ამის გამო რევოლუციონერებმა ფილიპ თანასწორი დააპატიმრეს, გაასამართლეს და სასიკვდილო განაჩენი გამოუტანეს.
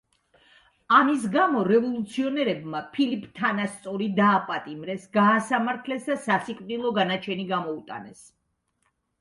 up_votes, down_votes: 2, 0